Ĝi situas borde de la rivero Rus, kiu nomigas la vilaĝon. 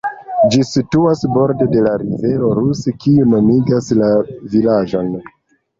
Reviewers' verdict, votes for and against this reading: rejected, 1, 2